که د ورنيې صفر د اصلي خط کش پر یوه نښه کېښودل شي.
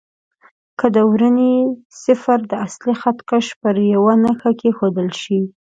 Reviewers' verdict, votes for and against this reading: accepted, 2, 0